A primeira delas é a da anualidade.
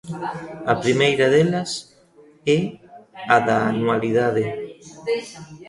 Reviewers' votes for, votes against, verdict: 0, 2, rejected